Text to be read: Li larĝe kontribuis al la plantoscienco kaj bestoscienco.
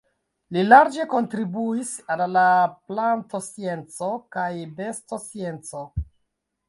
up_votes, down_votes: 1, 2